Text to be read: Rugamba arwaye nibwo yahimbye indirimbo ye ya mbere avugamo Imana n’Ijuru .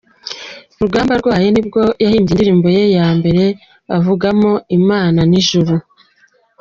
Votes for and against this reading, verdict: 2, 0, accepted